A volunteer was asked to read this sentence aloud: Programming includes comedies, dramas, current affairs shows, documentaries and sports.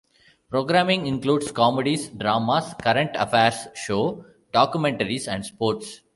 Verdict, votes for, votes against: rejected, 0, 2